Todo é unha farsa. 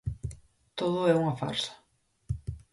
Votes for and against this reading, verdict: 4, 0, accepted